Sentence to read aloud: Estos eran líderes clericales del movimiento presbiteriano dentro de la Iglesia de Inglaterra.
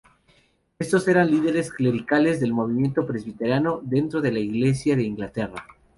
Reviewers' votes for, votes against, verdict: 2, 0, accepted